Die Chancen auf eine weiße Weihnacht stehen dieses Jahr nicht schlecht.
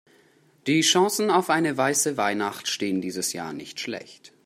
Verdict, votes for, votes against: accepted, 2, 0